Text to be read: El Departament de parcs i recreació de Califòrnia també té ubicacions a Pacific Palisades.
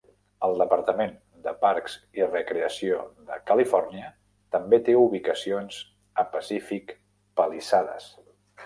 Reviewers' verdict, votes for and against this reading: accepted, 2, 0